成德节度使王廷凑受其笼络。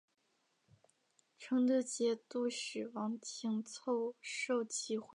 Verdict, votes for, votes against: accepted, 3, 1